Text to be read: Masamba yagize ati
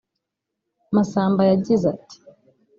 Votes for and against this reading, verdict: 0, 2, rejected